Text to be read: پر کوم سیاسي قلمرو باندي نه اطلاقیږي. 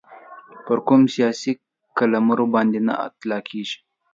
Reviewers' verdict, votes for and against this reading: accepted, 2, 0